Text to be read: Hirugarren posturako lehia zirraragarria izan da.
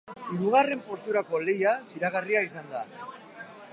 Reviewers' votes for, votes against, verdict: 0, 2, rejected